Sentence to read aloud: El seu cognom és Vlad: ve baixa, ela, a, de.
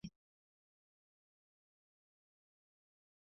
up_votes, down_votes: 0, 3